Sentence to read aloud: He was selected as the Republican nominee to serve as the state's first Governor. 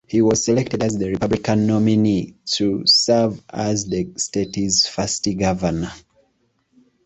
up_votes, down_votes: 0, 2